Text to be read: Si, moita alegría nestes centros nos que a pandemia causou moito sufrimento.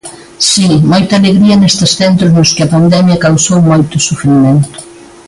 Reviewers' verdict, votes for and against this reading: accepted, 2, 1